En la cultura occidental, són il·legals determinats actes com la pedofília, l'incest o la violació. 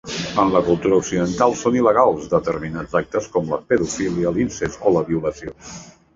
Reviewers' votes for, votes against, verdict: 0, 2, rejected